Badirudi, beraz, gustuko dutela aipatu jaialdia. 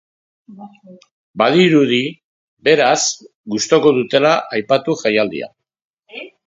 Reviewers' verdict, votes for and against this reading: rejected, 1, 3